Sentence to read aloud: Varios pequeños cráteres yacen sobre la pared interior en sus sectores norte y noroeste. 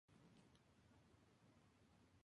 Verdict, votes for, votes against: rejected, 0, 2